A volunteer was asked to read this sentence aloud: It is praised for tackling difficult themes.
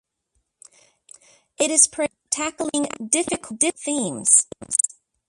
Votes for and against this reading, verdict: 0, 2, rejected